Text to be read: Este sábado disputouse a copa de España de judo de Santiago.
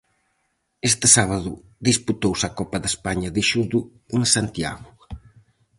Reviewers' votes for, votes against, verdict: 2, 2, rejected